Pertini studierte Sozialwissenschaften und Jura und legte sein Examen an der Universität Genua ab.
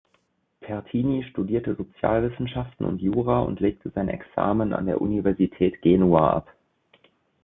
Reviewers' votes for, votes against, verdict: 2, 0, accepted